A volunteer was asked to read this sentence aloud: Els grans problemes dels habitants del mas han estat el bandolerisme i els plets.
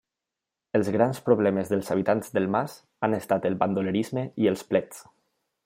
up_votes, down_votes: 3, 0